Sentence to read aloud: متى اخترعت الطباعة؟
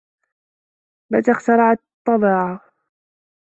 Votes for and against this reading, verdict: 0, 2, rejected